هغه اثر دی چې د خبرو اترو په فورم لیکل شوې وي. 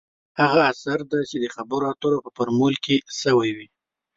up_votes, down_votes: 0, 2